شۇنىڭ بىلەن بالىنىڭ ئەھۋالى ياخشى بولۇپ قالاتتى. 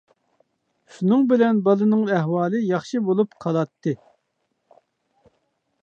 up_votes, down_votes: 2, 0